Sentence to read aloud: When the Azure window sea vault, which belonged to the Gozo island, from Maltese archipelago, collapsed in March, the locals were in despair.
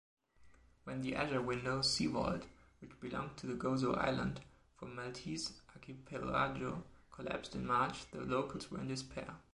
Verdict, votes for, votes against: accepted, 2, 1